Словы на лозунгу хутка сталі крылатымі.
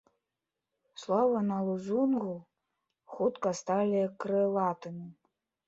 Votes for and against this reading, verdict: 1, 2, rejected